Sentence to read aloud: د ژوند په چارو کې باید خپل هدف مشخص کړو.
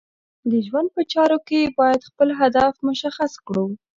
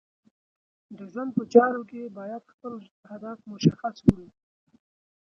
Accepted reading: first